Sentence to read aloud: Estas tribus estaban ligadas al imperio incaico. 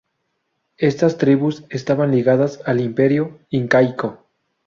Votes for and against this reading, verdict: 2, 0, accepted